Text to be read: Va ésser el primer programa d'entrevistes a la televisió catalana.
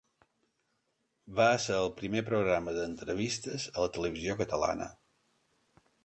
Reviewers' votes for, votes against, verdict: 2, 0, accepted